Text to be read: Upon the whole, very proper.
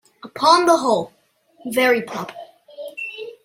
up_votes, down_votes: 2, 0